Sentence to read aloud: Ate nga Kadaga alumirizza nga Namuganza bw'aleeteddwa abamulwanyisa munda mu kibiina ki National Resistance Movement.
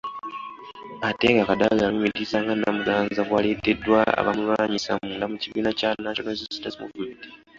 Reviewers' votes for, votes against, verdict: 2, 1, accepted